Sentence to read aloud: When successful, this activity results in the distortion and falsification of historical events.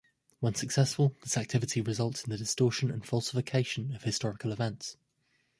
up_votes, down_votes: 1, 2